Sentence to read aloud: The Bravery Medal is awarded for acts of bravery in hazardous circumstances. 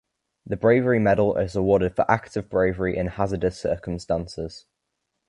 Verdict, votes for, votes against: accepted, 2, 0